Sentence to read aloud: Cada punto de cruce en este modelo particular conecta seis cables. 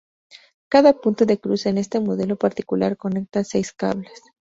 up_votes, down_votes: 2, 0